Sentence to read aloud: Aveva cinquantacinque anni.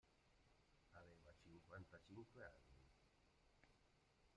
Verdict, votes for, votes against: rejected, 1, 2